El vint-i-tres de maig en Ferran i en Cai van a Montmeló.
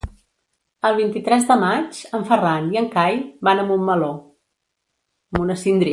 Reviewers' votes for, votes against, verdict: 0, 2, rejected